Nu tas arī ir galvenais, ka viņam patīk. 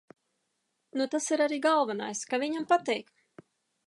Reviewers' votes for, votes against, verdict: 1, 2, rejected